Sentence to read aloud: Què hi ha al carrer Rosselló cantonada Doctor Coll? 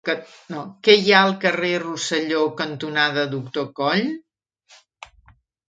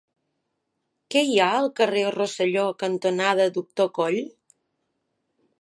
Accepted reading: second